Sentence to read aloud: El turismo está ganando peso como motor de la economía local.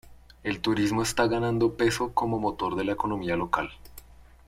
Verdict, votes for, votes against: accepted, 2, 1